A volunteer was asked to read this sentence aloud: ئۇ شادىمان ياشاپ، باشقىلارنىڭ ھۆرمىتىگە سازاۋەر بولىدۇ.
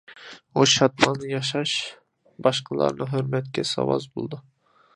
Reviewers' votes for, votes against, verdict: 0, 2, rejected